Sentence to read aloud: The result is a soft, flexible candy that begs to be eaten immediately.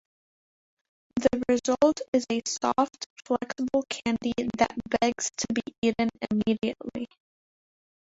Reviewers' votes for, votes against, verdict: 1, 2, rejected